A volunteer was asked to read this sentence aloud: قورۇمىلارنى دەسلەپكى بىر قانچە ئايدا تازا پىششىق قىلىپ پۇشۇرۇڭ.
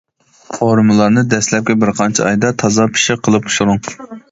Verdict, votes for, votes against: accepted, 2, 0